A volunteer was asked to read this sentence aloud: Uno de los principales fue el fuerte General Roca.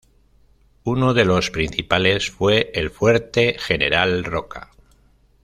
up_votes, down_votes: 2, 0